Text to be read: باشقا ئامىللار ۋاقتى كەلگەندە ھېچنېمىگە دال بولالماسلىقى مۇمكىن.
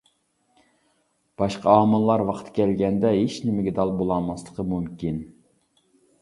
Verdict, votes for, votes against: accepted, 2, 0